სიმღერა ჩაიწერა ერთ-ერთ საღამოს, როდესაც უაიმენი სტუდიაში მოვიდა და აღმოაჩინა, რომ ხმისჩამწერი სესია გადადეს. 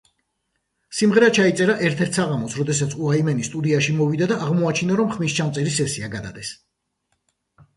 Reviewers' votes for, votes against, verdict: 2, 1, accepted